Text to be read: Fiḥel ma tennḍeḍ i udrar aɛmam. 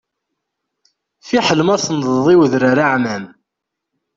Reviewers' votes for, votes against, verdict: 2, 0, accepted